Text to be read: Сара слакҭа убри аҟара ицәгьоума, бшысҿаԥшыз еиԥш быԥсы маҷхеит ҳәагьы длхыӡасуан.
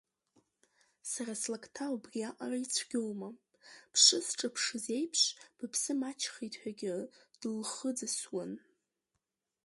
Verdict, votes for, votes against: rejected, 0, 2